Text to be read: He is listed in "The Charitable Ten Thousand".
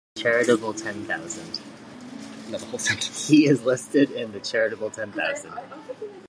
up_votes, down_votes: 0, 2